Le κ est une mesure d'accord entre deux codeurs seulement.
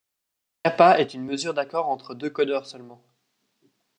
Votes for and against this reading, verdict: 0, 2, rejected